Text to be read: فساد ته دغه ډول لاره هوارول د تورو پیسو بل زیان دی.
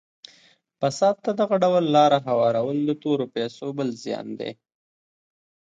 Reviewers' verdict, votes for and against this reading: accepted, 2, 0